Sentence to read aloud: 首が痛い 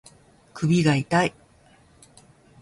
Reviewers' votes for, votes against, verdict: 2, 0, accepted